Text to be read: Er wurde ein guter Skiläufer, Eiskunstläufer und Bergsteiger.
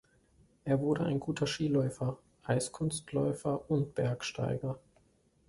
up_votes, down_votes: 2, 0